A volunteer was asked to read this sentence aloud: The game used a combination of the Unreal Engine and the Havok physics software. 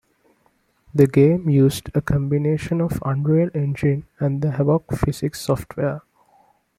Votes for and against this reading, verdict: 0, 2, rejected